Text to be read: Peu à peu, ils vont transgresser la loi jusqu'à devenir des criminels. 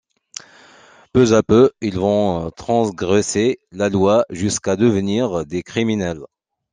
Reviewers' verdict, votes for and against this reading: rejected, 1, 2